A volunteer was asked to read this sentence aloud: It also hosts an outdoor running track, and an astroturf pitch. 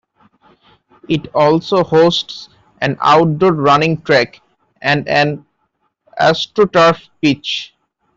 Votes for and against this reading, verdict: 1, 2, rejected